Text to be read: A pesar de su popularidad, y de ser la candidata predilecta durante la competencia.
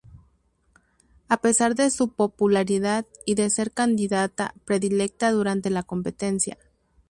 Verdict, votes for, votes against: rejected, 0, 4